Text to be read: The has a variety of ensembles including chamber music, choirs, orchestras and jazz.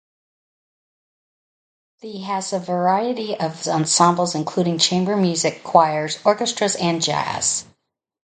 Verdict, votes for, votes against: accepted, 2, 0